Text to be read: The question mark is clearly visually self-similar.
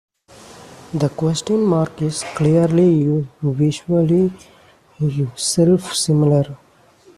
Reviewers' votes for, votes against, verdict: 2, 1, accepted